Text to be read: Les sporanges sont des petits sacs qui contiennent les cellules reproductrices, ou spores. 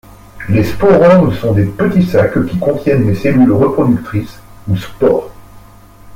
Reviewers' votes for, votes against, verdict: 2, 0, accepted